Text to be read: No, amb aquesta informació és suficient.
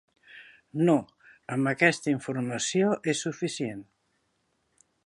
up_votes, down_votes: 5, 0